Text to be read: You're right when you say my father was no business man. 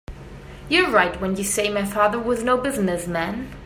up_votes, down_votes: 2, 0